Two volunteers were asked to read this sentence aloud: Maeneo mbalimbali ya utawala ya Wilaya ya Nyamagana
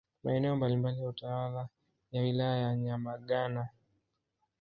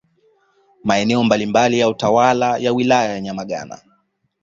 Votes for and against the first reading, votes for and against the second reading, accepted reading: 1, 2, 2, 0, second